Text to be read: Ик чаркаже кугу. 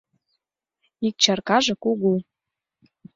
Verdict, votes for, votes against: accepted, 2, 0